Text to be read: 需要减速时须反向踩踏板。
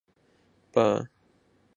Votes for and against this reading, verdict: 0, 2, rejected